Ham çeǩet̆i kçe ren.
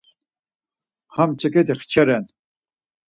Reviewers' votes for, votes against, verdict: 4, 2, accepted